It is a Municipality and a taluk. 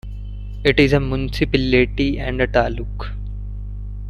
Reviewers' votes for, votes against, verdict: 0, 2, rejected